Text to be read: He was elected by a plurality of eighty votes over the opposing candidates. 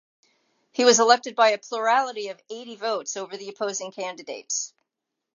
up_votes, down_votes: 2, 0